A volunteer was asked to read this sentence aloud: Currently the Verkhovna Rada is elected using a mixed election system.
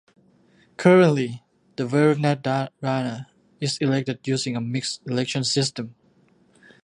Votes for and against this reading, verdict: 2, 1, accepted